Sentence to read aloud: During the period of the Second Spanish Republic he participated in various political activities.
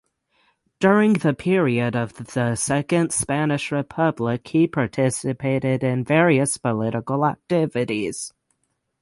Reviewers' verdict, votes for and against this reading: accepted, 6, 0